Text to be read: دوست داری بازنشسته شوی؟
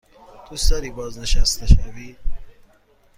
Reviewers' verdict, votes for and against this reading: accepted, 2, 0